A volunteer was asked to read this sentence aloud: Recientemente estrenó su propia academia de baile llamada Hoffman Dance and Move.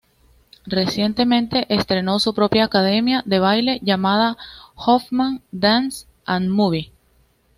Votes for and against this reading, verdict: 2, 0, accepted